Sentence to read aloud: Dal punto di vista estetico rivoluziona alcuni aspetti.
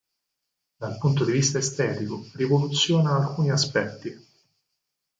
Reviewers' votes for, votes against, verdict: 4, 0, accepted